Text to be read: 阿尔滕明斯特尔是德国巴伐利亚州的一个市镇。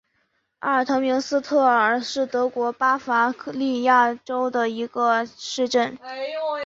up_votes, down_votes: 8, 0